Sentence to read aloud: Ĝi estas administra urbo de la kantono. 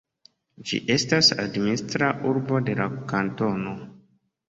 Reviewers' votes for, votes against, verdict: 2, 0, accepted